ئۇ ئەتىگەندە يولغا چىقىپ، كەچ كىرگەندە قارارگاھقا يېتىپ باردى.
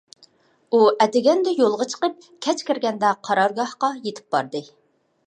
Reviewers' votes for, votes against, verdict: 2, 0, accepted